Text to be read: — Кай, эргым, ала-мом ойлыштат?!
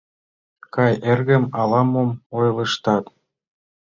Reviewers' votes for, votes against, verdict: 2, 0, accepted